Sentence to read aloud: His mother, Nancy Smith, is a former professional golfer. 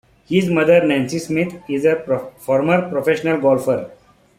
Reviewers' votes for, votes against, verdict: 1, 2, rejected